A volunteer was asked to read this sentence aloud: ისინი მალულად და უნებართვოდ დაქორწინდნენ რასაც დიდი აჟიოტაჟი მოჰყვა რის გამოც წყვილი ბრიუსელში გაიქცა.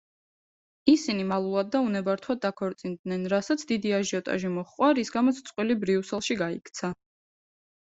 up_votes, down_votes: 2, 0